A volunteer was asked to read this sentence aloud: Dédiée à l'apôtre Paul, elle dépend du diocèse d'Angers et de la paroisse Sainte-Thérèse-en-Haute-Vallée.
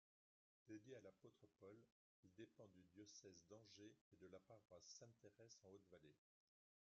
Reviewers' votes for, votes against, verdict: 0, 3, rejected